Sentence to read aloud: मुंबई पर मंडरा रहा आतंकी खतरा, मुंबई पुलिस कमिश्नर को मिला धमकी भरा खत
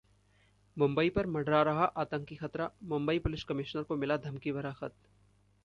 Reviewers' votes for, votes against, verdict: 2, 0, accepted